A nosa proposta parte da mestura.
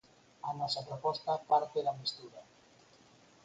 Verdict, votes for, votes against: accepted, 4, 0